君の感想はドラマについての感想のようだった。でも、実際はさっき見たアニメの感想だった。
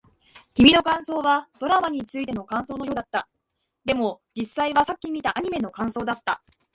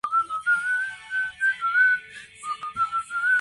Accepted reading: first